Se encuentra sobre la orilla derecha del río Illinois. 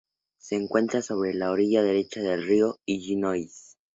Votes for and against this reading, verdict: 2, 0, accepted